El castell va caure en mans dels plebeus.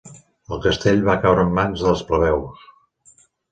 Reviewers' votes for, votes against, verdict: 3, 0, accepted